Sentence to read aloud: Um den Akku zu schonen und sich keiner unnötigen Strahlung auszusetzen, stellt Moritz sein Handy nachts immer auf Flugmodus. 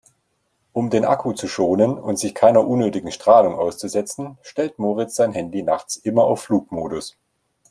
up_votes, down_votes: 2, 0